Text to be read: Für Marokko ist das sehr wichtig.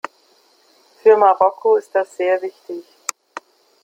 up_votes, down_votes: 2, 0